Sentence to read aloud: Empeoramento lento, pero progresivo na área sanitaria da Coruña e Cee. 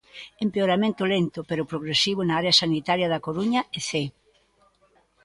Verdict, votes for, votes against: rejected, 1, 2